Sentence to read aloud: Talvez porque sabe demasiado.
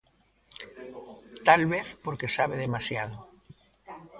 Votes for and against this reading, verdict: 0, 2, rejected